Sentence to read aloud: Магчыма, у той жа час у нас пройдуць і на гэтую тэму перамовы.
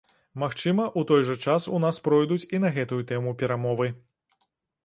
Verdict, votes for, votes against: accepted, 2, 0